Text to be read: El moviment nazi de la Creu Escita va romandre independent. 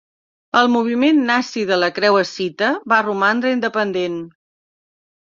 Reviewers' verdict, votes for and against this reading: accepted, 4, 0